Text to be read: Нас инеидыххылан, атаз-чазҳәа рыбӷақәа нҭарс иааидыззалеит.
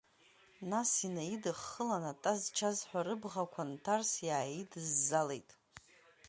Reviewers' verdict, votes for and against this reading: accepted, 2, 0